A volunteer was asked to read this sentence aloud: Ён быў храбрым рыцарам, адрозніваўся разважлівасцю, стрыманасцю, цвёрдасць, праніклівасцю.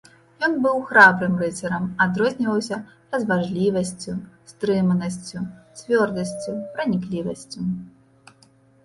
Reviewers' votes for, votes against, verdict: 1, 2, rejected